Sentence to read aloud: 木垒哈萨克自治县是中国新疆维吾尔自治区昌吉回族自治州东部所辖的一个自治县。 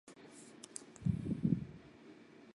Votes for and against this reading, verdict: 2, 0, accepted